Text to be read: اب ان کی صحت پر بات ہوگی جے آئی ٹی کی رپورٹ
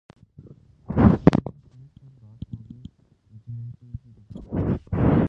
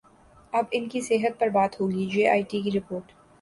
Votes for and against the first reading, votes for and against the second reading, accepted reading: 0, 3, 6, 0, second